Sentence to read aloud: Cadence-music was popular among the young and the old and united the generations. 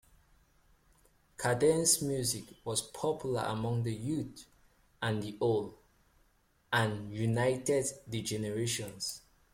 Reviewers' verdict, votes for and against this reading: accepted, 2, 1